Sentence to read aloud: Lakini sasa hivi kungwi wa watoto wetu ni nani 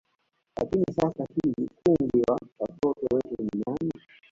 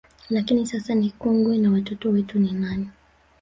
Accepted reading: first